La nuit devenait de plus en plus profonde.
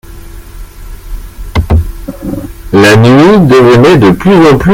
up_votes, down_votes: 0, 2